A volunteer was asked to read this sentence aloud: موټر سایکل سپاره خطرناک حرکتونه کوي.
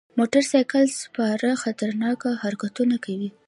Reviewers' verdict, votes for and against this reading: accepted, 2, 0